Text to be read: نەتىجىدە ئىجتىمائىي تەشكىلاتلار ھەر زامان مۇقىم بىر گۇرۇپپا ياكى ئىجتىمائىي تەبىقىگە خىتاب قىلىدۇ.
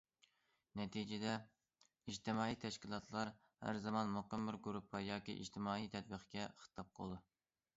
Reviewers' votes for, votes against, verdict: 1, 2, rejected